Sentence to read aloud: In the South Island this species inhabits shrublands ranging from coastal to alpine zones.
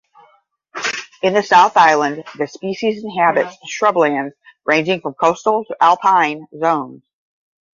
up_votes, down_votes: 10, 5